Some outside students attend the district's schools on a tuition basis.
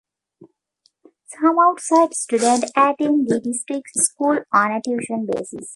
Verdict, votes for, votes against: rejected, 2, 3